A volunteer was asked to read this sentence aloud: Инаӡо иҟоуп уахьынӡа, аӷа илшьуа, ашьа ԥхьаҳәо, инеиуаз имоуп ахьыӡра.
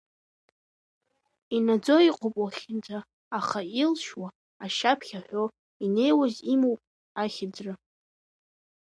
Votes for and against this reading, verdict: 2, 0, accepted